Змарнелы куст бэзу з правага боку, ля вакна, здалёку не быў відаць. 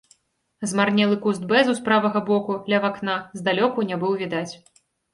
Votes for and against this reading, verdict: 2, 0, accepted